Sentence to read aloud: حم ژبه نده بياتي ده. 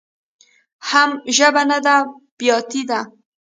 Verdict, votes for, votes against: rejected, 1, 2